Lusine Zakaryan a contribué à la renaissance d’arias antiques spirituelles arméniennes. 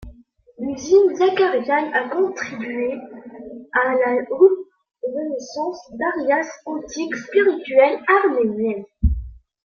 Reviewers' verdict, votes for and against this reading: rejected, 0, 2